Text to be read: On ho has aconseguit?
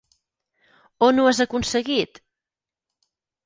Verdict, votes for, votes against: accepted, 6, 0